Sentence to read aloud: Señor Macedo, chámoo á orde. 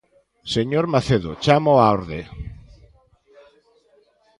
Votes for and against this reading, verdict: 2, 0, accepted